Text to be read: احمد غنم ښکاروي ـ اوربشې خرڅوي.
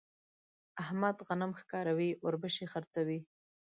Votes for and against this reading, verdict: 3, 0, accepted